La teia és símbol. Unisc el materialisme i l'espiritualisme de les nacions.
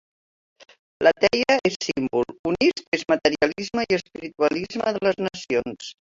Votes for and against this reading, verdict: 0, 2, rejected